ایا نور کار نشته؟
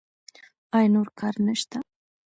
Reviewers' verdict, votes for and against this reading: accepted, 2, 0